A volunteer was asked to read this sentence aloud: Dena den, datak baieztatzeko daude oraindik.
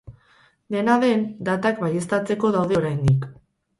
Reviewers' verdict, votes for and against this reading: rejected, 0, 2